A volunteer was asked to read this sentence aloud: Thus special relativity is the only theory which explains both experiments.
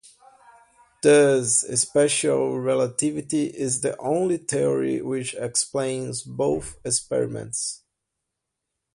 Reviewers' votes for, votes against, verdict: 0, 2, rejected